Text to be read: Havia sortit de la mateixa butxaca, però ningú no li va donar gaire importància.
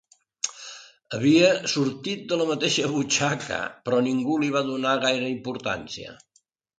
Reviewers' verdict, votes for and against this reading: rejected, 1, 2